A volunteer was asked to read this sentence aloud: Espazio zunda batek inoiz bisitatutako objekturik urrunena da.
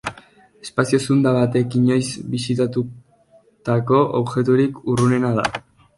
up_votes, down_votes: 3, 0